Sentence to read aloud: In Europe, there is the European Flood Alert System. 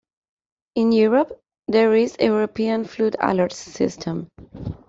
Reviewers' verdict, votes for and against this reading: rejected, 0, 2